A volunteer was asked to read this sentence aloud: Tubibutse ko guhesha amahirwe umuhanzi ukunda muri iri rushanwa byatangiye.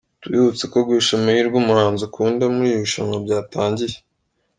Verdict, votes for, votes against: accepted, 3, 0